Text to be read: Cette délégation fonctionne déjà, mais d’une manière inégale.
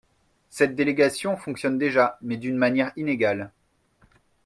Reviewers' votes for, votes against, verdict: 2, 0, accepted